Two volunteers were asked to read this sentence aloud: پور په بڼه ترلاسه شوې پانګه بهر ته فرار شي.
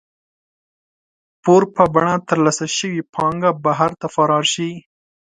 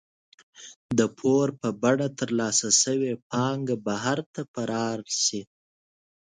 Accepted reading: first